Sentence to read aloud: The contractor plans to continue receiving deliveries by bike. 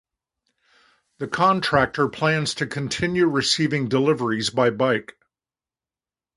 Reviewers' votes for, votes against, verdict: 2, 0, accepted